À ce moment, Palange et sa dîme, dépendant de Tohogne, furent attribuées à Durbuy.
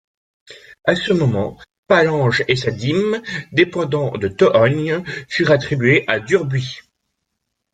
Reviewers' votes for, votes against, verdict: 2, 0, accepted